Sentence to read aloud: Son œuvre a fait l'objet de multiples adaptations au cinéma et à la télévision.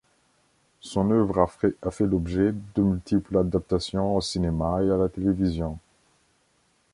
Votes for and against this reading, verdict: 1, 3, rejected